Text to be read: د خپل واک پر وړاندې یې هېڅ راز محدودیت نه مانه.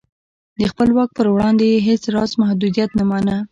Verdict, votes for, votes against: accepted, 2, 0